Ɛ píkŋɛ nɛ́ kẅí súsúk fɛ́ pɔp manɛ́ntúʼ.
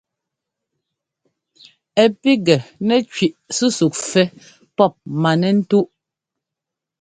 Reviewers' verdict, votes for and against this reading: accepted, 2, 0